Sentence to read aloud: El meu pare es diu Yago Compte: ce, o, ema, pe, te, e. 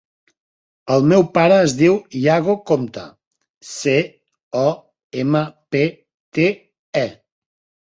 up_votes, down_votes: 2, 0